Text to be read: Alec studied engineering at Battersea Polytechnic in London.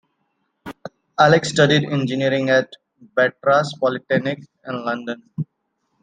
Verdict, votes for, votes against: rejected, 0, 2